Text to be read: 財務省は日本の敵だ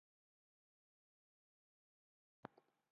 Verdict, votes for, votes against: rejected, 0, 2